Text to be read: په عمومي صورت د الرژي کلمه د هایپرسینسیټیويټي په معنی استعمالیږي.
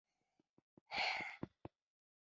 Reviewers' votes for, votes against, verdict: 1, 3, rejected